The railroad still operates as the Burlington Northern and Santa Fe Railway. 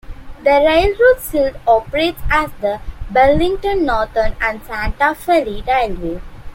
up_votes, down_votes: 1, 2